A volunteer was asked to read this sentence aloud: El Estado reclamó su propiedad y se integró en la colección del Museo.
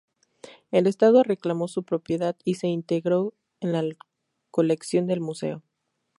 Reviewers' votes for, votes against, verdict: 2, 2, rejected